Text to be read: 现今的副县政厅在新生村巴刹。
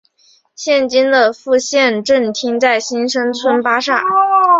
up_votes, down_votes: 3, 0